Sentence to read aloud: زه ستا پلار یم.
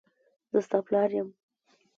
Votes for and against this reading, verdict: 2, 0, accepted